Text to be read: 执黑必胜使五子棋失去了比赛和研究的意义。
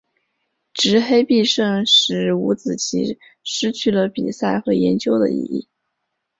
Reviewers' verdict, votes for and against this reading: accepted, 4, 0